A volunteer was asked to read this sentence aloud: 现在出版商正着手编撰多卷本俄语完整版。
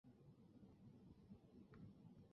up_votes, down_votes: 0, 3